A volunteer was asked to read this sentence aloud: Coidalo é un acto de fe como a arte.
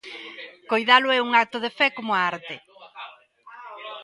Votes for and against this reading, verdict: 1, 2, rejected